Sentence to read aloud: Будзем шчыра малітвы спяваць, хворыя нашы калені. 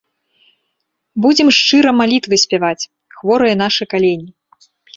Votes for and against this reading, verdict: 2, 0, accepted